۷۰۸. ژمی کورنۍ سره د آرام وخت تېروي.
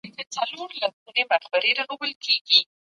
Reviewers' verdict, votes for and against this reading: rejected, 0, 2